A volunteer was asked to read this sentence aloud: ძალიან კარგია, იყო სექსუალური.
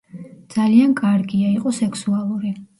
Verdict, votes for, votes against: rejected, 0, 2